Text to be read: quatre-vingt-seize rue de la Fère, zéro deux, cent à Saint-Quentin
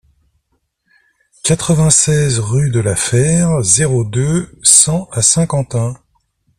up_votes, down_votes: 2, 0